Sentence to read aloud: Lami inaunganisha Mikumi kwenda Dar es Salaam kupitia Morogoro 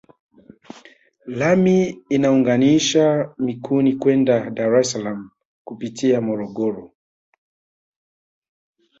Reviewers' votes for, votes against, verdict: 3, 1, accepted